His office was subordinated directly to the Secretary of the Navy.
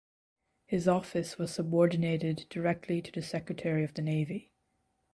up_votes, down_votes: 0, 2